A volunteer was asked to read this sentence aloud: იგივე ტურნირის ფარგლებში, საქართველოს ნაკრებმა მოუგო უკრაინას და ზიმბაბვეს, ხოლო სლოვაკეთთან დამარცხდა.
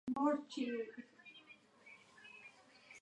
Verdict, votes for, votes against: rejected, 0, 2